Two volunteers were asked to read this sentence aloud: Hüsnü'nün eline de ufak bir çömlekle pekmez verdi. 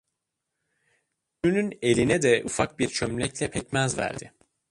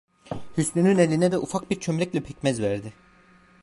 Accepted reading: second